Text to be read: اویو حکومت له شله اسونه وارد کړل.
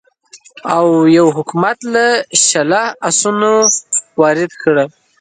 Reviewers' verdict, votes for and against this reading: accepted, 2, 0